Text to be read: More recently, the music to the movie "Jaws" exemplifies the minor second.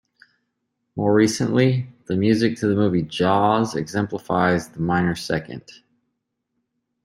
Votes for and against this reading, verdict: 2, 0, accepted